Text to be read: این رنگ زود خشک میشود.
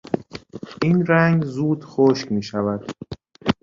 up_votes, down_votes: 2, 0